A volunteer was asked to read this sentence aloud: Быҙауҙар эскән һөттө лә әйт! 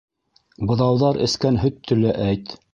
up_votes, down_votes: 1, 2